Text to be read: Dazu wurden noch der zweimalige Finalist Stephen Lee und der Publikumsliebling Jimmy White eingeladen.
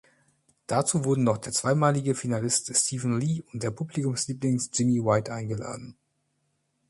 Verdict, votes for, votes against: rejected, 1, 2